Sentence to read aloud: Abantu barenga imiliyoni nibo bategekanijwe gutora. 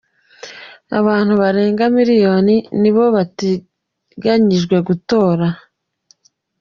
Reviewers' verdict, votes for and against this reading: accepted, 2, 0